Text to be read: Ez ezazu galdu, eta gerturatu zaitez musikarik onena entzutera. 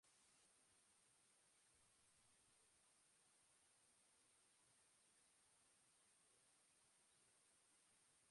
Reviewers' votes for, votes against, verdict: 0, 3, rejected